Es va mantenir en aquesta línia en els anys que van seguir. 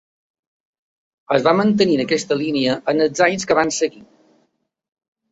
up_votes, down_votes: 3, 1